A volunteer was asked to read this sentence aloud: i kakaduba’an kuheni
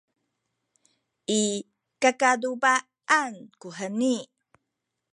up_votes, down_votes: 0, 2